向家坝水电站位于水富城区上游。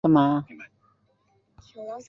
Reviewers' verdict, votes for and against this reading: rejected, 0, 2